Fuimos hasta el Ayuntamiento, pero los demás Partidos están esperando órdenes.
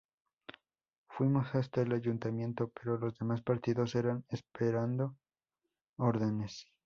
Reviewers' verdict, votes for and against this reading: rejected, 0, 2